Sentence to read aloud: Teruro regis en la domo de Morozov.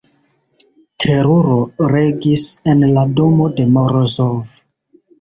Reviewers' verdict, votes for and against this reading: rejected, 0, 2